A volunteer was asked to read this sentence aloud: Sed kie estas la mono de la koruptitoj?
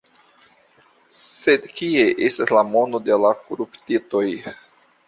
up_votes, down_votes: 2, 0